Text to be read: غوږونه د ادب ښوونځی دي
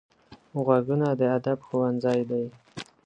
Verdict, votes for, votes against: accepted, 2, 0